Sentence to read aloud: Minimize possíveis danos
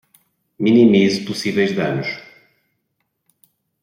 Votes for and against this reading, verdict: 2, 0, accepted